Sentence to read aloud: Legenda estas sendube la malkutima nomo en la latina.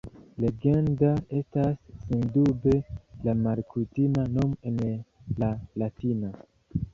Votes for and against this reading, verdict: 2, 0, accepted